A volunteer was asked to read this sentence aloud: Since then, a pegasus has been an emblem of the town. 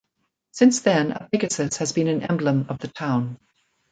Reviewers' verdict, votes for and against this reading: rejected, 1, 2